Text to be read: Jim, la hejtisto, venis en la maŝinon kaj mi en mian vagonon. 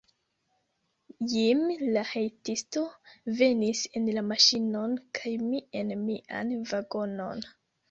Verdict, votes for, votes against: rejected, 1, 2